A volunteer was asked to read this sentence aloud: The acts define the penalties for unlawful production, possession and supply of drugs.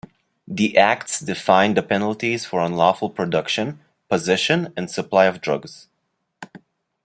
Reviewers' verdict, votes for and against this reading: accepted, 2, 0